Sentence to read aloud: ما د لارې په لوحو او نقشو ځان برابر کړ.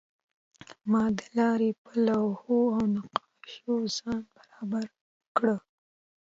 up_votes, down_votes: 2, 0